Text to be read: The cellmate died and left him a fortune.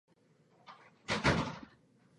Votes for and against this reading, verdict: 0, 2, rejected